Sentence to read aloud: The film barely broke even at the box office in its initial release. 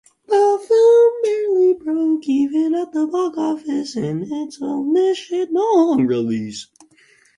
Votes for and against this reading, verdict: 0, 4, rejected